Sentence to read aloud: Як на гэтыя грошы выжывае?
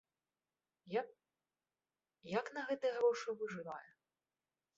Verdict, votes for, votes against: rejected, 0, 2